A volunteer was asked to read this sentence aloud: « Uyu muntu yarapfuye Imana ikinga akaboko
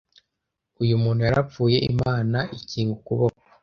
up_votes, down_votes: 1, 2